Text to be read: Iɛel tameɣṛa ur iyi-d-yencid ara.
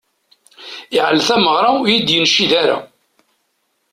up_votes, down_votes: 2, 0